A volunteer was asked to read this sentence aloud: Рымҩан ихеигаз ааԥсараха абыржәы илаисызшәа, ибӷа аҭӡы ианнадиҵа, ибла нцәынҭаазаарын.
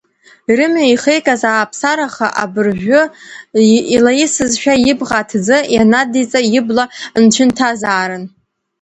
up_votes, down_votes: 1, 2